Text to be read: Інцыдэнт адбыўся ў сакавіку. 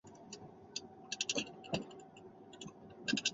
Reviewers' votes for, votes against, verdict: 0, 3, rejected